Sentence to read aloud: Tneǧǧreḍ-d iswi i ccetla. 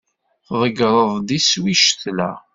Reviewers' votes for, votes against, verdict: 2, 0, accepted